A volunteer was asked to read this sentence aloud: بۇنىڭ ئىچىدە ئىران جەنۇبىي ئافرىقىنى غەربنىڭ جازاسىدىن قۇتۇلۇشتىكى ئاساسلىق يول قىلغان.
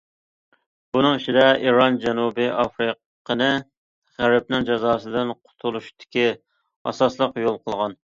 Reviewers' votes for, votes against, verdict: 2, 0, accepted